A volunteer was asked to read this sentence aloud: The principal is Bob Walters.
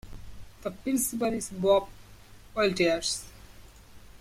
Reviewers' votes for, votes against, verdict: 2, 0, accepted